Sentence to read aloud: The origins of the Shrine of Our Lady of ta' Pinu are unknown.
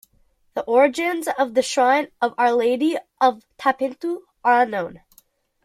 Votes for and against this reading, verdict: 0, 2, rejected